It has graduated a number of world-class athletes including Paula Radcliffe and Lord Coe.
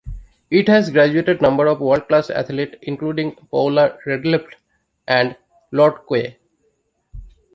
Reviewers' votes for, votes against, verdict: 0, 2, rejected